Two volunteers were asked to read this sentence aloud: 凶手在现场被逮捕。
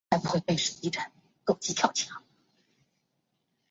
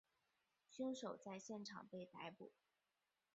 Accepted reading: second